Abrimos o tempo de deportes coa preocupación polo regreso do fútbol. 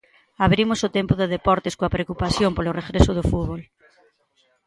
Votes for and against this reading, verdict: 2, 1, accepted